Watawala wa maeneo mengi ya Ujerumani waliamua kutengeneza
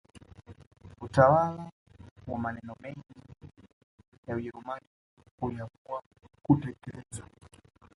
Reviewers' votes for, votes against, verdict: 1, 2, rejected